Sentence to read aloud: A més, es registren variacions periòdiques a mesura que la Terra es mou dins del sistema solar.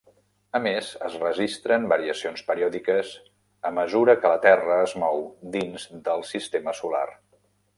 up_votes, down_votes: 1, 2